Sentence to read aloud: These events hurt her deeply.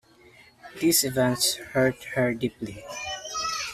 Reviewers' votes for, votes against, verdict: 2, 0, accepted